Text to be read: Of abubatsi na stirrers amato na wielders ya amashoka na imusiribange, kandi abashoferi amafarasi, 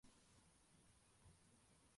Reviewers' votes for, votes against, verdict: 0, 2, rejected